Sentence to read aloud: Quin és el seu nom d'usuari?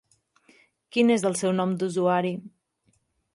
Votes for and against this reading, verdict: 1, 2, rejected